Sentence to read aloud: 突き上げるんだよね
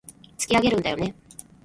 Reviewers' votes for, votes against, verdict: 2, 0, accepted